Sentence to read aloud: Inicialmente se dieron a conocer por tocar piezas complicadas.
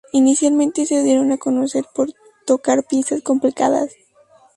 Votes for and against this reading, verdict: 2, 0, accepted